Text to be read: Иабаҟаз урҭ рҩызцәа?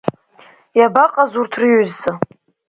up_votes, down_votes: 3, 0